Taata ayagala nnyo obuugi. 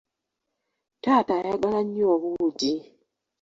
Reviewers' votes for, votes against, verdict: 2, 0, accepted